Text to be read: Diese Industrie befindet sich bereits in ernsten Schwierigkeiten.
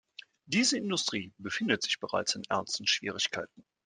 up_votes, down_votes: 2, 0